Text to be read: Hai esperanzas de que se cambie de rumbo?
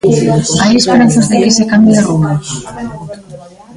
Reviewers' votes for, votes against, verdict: 0, 2, rejected